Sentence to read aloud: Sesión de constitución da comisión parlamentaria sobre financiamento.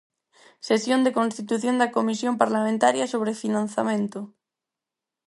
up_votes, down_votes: 4, 2